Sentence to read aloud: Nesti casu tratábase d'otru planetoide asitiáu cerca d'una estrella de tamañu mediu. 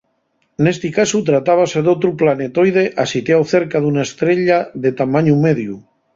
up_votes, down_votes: 2, 0